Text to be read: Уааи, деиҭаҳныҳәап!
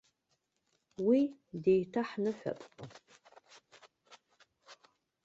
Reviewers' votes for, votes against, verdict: 1, 2, rejected